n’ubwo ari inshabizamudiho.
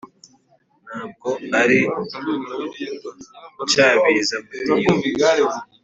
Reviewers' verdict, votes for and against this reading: accepted, 3, 0